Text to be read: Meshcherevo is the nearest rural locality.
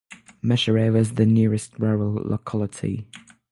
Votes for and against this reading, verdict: 3, 0, accepted